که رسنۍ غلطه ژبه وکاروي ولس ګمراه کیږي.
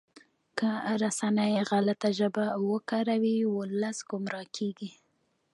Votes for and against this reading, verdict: 2, 1, accepted